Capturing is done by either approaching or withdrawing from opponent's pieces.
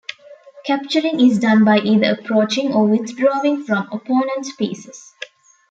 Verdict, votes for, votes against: accepted, 2, 0